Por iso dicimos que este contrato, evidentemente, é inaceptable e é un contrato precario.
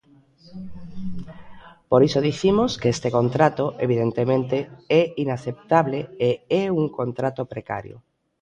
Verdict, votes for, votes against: rejected, 1, 2